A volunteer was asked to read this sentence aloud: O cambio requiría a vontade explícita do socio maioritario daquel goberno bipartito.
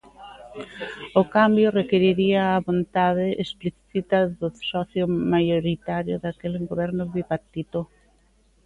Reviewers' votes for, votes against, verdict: 0, 2, rejected